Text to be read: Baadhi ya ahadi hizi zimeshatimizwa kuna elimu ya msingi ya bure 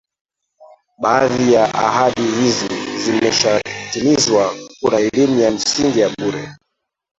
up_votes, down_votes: 0, 2